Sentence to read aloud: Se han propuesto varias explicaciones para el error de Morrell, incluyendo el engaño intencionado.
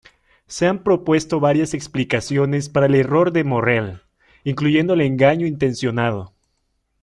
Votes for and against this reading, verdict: 2, 0, accepted